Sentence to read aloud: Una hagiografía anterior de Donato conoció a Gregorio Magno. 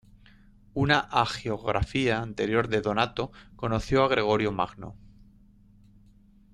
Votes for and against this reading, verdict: 2, 0, accepted